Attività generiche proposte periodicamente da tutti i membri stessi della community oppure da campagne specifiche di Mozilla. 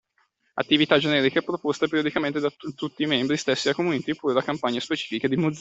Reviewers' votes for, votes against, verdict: 0, 2, rejected